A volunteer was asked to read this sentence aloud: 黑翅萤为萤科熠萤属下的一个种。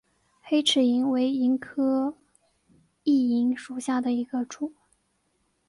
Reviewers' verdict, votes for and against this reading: accepted, 3, 0